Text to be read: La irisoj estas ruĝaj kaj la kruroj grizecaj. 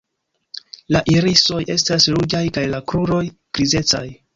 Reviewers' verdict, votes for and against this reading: rejected, 0, 2